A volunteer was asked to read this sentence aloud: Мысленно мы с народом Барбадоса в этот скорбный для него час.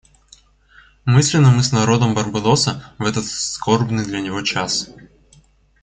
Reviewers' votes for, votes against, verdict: 1, 2, rejected